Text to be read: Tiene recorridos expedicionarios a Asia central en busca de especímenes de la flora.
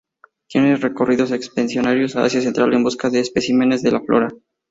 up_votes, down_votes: 0, 2